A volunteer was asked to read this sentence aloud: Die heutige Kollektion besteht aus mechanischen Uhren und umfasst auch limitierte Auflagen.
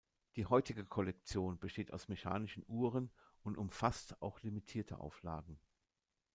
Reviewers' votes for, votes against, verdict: 0, 2, rejected